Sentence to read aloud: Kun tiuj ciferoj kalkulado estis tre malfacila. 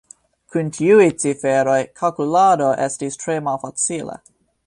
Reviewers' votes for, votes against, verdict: 0, 2, rejected